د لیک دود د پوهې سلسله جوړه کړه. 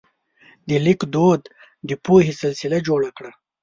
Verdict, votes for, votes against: accepted, 2, 0